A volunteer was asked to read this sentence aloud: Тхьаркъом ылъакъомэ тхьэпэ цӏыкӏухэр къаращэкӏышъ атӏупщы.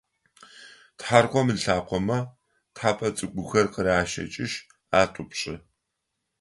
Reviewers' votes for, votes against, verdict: 3, 1, accepted